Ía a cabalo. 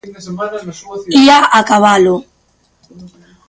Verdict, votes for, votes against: rejected, 0, 2